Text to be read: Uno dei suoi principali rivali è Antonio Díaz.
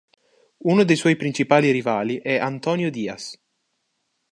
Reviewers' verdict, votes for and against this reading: accepted, 3, 0